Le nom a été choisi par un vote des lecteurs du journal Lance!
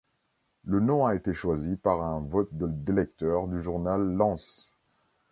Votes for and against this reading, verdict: 0, 2, rejected